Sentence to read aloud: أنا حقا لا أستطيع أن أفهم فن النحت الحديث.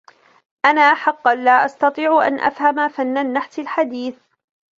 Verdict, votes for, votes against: accepted, 2, 0